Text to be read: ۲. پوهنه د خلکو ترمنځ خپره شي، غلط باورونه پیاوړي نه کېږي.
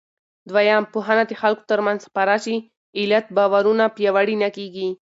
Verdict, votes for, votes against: rejected, 0, 2